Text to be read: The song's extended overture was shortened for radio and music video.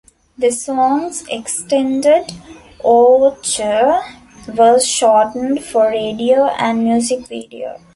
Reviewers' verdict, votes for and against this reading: accepted, 2, 0